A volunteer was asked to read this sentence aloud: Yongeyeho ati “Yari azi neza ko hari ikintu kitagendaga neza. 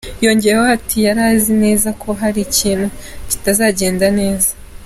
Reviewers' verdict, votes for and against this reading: accepted, 2, 1